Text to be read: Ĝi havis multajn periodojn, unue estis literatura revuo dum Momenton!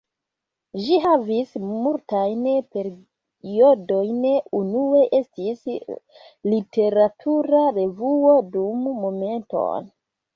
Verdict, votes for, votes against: accepted, 3, 1